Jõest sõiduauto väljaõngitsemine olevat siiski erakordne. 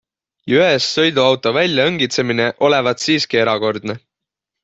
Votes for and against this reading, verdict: 3, 0, accepted